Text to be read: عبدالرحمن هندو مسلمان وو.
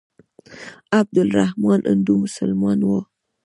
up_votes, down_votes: 1, 2